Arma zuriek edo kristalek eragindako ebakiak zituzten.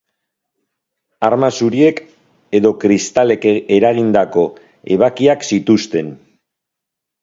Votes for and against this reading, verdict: 4, 1, accepted